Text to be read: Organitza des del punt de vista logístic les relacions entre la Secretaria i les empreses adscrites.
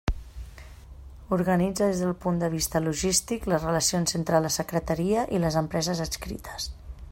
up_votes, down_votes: 2, 0